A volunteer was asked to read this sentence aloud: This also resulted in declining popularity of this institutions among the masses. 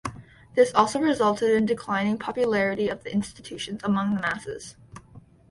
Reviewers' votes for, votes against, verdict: 2, 1, accepted